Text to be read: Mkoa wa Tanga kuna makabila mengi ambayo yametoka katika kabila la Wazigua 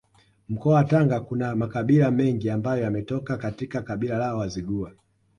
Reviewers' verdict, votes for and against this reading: accepted, 2, 0